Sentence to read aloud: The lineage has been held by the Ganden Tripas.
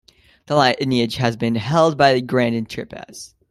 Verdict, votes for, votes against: rejected, 1, 2